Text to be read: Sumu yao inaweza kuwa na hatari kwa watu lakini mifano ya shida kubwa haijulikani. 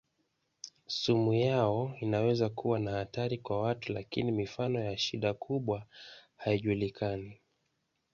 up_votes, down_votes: 2, 1